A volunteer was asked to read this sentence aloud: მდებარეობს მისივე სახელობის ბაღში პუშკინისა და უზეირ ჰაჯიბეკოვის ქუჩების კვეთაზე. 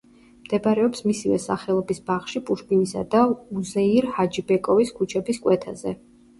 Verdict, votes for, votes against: rejected, 1, 2